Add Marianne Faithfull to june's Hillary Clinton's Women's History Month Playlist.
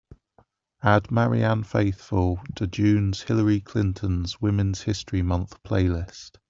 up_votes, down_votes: 2, 0